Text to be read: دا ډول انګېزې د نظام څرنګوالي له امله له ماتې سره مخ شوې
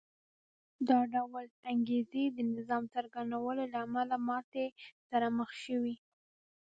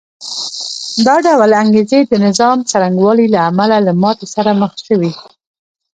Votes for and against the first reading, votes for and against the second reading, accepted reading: 0, 2, 2, 0, second